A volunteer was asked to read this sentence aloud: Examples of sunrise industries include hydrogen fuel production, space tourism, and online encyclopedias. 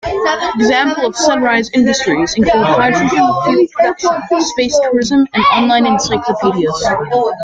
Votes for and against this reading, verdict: 0, 2, rejected